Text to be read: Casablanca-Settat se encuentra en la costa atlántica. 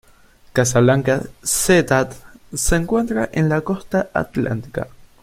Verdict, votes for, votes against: rejected, 0, 2